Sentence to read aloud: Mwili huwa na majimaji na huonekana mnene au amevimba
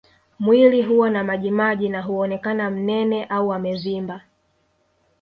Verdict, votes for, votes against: rejected, 1, 2